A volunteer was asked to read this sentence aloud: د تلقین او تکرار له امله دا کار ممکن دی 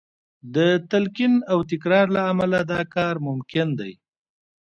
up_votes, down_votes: 2, 0